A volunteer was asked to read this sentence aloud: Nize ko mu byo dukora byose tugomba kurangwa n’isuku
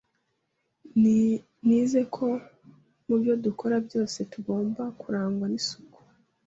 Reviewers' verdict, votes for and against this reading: rejected, 1, 2